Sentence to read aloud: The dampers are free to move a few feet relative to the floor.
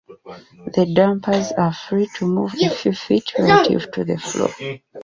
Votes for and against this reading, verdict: 0, 2, rejected